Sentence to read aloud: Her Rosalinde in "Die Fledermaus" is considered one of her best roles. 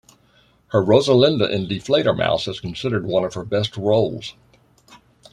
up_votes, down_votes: 2, 0